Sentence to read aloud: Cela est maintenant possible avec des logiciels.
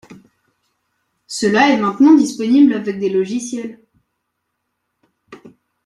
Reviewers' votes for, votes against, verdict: 0, 2, rejected